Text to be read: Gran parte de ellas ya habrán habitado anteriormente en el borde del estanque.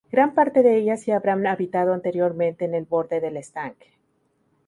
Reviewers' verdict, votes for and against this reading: accepted, 2, 0